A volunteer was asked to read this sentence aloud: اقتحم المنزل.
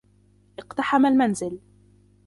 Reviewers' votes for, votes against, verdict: 3, 1, accepted